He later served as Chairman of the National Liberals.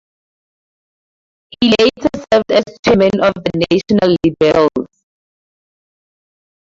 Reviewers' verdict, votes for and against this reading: rejected, 2, 2